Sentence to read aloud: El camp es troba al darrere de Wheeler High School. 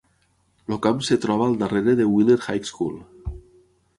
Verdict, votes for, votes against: rejected, 3, 6